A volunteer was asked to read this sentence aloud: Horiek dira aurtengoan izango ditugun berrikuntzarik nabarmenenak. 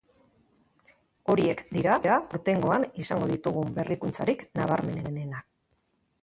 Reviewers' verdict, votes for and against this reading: rejected, 0, 2